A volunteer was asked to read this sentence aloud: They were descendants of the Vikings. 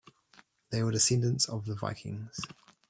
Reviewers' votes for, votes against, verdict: 0, 2, rejected